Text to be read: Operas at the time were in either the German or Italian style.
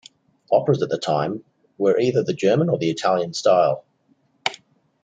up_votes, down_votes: 1, 2